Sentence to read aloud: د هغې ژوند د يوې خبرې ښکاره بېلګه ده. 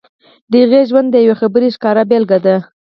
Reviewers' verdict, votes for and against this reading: rejected, 2, 4